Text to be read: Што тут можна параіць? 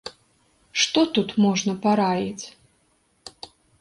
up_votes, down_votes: 2, 0